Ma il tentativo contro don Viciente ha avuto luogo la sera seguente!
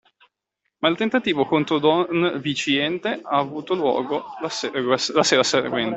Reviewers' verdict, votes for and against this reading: rejected, 0, 2